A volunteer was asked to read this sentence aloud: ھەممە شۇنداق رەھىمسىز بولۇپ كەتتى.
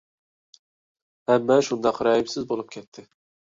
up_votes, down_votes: 2, 0